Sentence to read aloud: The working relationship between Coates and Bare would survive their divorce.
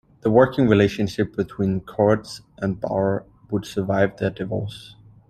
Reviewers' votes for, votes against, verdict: 1, 2, rejected